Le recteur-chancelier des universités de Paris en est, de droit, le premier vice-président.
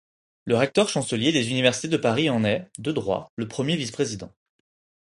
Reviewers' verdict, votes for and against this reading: accepted, 4, 0